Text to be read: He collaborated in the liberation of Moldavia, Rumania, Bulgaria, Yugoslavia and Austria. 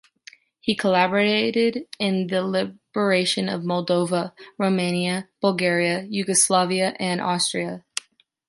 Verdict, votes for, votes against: rejected, 1, 3